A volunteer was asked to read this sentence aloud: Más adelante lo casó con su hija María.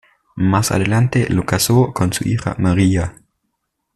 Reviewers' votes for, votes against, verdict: 2, 0, accepted